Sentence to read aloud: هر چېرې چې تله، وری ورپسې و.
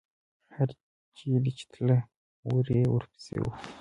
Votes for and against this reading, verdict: 2, 1, accepted